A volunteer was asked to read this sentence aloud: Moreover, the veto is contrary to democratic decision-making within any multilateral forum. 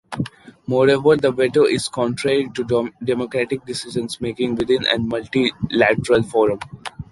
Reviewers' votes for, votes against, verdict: 2, 1, accepted